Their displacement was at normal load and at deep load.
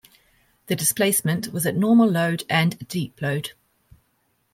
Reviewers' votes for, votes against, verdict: 1, 2, rejected